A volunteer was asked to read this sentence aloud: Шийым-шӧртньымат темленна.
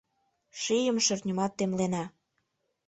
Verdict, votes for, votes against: rejected, 1, 2